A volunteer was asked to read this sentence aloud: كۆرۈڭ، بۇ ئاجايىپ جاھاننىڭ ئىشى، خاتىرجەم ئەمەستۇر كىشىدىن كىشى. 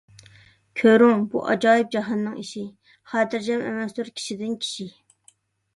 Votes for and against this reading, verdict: 2, 0, accepted